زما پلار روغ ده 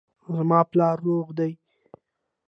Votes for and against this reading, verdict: 2, 0, accepted